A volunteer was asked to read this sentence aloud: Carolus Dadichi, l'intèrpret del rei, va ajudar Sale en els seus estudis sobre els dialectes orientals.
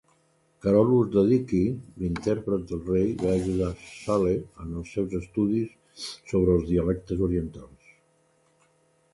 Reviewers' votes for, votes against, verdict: 2, 0, accepted